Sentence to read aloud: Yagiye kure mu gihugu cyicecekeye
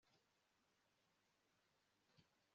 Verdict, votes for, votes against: rejected, 0, 2